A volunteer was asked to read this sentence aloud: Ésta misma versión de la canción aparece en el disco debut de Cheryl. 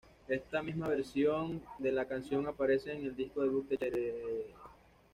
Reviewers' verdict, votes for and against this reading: rejected, 1, 2